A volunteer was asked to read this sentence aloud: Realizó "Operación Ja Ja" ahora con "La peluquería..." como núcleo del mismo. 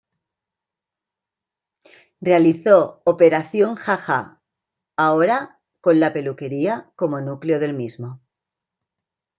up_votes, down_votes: 2, 0